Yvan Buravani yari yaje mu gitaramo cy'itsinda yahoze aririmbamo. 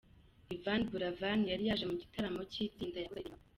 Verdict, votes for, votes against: rejected, 0, 2